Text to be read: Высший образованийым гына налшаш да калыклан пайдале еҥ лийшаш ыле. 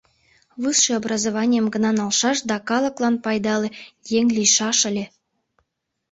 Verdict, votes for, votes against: accepted, 2, 0